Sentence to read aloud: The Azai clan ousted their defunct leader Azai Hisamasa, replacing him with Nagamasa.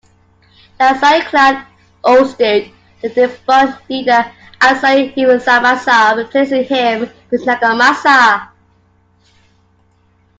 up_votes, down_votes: 0, 2